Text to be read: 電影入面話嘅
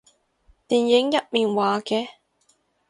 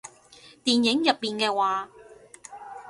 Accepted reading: first